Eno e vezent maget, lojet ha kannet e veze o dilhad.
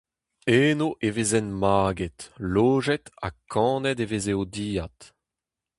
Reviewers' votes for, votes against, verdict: 2, 2, rejected